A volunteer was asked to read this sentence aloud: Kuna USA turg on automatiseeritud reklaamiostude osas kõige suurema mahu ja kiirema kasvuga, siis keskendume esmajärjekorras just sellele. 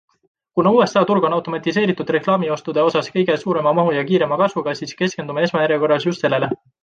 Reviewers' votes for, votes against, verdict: 1, 2, rejected